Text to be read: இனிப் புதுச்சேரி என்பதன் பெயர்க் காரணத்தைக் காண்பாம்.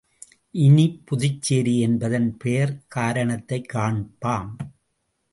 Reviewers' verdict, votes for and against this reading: rejected, 0, 2